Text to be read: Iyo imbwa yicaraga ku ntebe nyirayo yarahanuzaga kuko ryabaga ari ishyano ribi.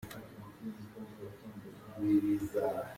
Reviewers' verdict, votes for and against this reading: rejected, 0, 2